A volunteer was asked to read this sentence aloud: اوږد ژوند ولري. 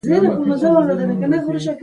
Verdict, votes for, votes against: rejected, 0, 2